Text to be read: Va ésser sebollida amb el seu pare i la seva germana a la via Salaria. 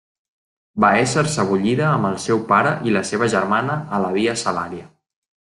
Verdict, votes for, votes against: accepted, 2, 0